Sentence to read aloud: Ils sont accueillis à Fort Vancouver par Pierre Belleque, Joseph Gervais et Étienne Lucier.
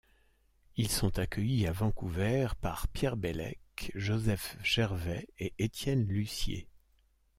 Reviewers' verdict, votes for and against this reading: rejected, 0, 2